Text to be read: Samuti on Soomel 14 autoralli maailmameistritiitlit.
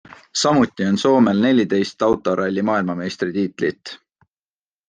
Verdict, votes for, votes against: rejected, 0, 2